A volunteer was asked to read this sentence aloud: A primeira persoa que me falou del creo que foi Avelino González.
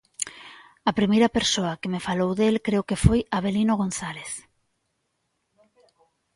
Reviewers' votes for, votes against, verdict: 2, 0, accepted